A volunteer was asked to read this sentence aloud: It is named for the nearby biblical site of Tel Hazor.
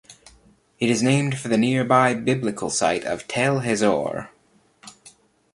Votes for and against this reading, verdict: 1, 2, rejected